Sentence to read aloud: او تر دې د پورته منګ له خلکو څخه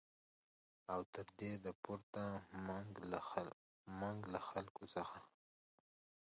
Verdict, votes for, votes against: rejected, 0, 2